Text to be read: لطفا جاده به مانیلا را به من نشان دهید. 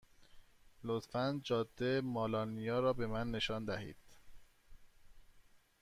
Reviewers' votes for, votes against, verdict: 1, 2, rejected